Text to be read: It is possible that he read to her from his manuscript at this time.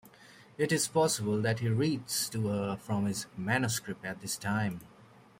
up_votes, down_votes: 1, 2